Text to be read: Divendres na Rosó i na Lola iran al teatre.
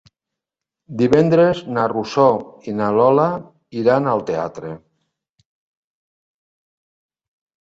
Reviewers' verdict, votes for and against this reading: accepted, 3, 0